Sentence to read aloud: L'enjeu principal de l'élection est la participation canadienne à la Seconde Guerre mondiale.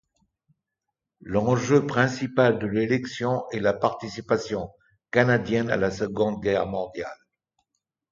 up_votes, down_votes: 2, 0